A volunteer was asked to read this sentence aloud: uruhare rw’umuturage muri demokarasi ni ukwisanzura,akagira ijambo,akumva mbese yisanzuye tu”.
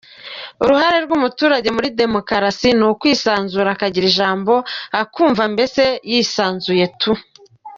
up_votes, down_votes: 2, 1